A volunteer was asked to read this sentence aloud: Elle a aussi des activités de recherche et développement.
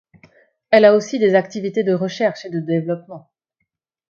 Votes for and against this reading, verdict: 0, 2, rejected